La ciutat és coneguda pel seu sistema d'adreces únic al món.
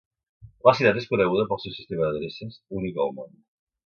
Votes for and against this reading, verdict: 2, 0, accepted